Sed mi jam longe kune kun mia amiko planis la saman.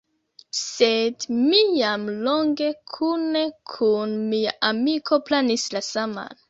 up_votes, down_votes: 1, 2